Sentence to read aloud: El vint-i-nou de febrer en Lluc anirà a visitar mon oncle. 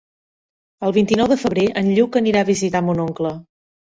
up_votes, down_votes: 3, 1